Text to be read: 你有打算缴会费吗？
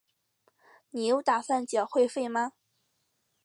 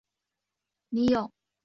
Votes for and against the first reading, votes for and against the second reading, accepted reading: 2, 0, 0, 4, first